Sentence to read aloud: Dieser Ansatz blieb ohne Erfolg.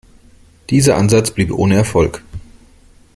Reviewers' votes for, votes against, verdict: 2, 0, accepted